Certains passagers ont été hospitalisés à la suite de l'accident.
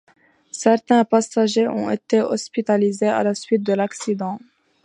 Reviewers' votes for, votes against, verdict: 2, 0, accepted